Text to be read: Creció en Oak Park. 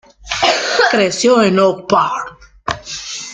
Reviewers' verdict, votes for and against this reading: accepted, 2, 1